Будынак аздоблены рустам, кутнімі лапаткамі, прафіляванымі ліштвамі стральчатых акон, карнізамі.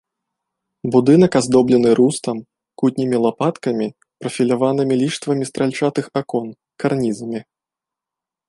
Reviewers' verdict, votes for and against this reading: accepted, 2, 0